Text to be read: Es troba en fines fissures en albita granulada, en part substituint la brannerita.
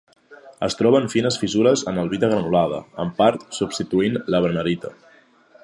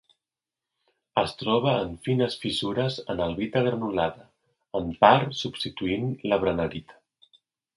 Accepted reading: second